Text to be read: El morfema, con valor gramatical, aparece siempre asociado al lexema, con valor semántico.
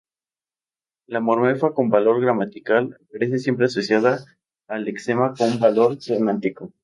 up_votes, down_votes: 0, 2